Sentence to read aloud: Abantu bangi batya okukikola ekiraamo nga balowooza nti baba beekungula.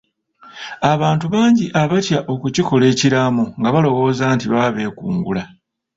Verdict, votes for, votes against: rejected, 0, 2